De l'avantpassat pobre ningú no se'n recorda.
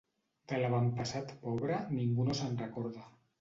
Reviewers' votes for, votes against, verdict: 2, 0, accepted